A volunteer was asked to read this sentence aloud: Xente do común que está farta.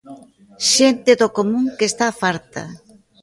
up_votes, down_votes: 2, 0